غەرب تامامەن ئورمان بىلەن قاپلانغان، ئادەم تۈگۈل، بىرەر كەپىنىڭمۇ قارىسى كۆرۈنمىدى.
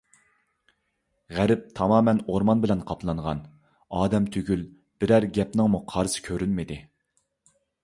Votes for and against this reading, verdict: 0, 2, rejected